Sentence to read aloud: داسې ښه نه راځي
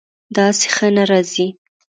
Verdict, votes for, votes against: accepted, 2, 0